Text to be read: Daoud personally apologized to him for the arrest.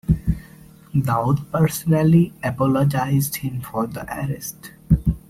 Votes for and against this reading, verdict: 2, 0, accepted